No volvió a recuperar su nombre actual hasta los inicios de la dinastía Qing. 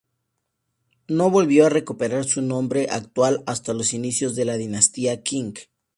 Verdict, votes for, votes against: accepted, 2, 0